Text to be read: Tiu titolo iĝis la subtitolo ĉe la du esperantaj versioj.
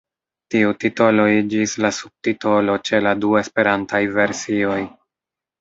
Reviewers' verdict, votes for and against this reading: rejected, 1, 2